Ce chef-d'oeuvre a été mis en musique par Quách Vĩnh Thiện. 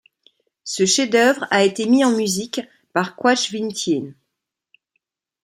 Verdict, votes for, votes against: accepted, 2, 0